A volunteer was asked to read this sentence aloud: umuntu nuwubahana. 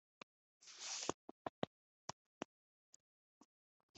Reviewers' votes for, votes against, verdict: 0, 2, rejected